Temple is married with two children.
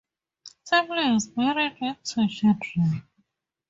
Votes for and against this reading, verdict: 2, 0, accepted